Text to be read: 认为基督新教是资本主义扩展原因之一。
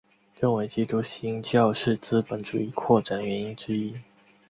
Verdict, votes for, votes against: accepted, 2, 0